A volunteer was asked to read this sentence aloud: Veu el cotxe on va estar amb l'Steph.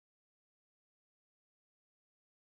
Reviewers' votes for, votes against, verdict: 0, 2, rejected